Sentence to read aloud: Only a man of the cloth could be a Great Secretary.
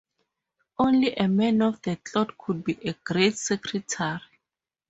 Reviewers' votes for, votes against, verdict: 2, 2, rejected